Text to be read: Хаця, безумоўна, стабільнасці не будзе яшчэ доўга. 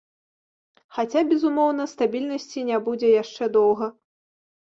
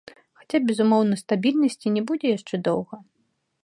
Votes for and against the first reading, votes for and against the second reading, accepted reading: 1, 2, 2, 0, second